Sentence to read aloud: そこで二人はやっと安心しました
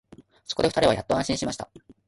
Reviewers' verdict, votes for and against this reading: rejected, 1, 2